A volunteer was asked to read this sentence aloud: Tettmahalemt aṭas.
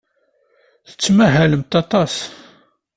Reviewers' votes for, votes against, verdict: 2, 0, accepted